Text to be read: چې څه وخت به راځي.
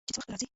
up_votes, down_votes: 1, 2